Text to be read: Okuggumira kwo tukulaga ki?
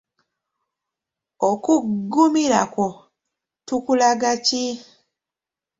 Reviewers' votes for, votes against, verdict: 1, 2, rejected